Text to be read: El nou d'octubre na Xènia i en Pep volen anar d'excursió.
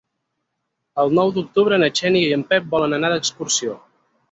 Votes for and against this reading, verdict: 4, 0, accepted